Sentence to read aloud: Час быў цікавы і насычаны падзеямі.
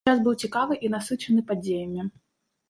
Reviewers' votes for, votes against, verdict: 1, 2, rejected